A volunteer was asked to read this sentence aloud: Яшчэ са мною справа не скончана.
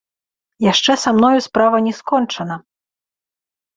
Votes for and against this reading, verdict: 2, 0, accepted